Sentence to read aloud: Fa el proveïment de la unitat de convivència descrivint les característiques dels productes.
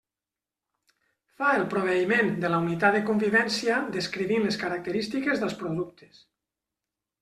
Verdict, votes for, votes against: accepted, 3, 0